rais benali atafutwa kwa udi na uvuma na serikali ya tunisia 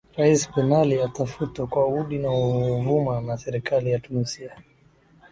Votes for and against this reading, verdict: 16, 1, accepted